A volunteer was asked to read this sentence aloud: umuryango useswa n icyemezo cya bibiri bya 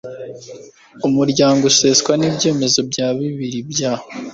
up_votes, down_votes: 1, 2